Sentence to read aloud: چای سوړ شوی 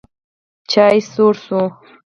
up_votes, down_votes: 2, 4